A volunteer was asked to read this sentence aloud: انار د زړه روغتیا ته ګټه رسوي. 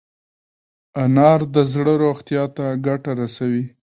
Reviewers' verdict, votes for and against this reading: rejected, 1, 2